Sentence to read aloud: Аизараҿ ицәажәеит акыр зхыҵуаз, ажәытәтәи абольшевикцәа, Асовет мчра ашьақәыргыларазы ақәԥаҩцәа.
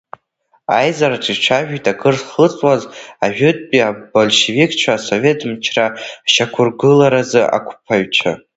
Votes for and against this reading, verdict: 0, 2, rejected